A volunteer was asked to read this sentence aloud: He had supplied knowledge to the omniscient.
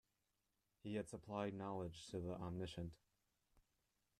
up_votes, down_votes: 1, 2